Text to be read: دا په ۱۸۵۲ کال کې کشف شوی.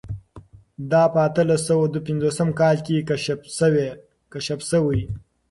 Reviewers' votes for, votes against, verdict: 0, 2, rejected